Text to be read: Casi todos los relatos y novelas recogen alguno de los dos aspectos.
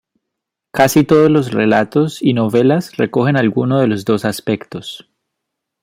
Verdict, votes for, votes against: accepted, 2, 0